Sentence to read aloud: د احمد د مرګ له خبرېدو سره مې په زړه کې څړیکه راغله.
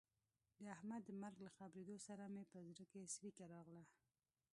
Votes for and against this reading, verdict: 1, 2, rejected